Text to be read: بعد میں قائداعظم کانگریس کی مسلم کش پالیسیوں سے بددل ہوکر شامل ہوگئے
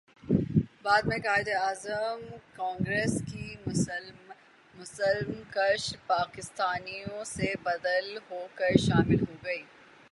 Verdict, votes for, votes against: rejected, 0, 3